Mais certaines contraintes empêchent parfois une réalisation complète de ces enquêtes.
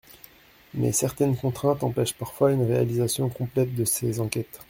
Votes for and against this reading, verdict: 2, 0, accepted